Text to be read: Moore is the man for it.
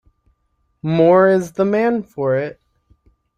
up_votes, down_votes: 2, 0